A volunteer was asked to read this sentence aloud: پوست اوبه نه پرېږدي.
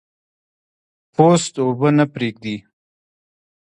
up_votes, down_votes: 2, 1